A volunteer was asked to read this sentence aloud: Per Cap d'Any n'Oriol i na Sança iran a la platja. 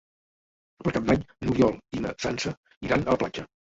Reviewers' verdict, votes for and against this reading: rejected, 0, 2